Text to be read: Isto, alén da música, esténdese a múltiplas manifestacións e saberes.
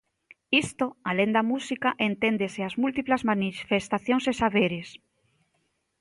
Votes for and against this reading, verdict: 0, 2, rejected